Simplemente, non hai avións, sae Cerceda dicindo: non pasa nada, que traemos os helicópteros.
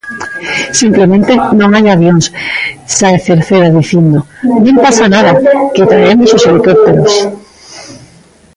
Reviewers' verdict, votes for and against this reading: rejected, 0, 2